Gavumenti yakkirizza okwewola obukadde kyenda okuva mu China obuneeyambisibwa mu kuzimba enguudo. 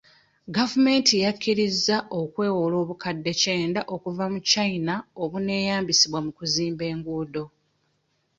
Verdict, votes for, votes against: accepted, 2, 0